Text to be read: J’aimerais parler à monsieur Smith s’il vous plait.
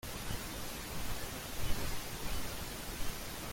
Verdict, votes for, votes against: rejected, 0, 2